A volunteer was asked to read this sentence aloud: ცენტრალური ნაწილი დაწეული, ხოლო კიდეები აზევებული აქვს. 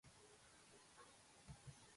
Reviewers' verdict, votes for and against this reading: rejected, 1, 2